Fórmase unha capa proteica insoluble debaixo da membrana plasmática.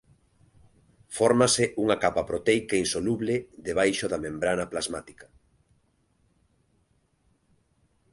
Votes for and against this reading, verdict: 2, 0, accepted